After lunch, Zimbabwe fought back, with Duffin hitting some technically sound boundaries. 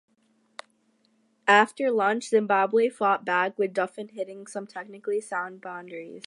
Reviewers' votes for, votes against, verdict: 2, 0, accepted